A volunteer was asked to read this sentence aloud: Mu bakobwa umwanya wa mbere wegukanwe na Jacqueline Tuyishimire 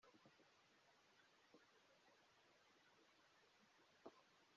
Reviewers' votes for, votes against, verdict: 0, 2, rejected